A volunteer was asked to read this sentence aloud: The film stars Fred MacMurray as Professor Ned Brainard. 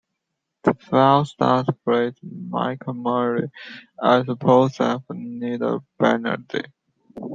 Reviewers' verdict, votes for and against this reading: rejected, 0, 2